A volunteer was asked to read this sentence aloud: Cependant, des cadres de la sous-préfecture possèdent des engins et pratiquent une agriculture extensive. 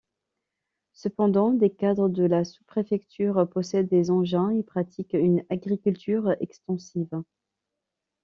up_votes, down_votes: 2, 0